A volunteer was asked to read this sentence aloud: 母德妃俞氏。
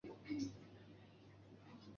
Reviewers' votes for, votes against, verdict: 1, 3, rejected